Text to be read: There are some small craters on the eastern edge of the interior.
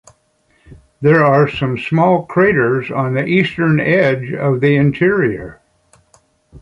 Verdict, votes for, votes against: accepted, 3, 0